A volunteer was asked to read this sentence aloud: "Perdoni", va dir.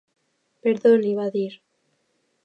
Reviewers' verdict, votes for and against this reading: accepted, 2, 0